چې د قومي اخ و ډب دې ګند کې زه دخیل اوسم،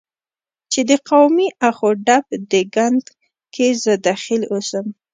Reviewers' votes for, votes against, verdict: 2, 0, accepted